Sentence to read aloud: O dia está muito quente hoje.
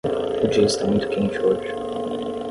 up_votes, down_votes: 5, 5